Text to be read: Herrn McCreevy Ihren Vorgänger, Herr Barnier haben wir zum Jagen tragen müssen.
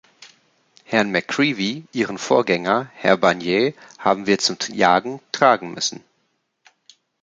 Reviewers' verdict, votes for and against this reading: accepted, 2, 1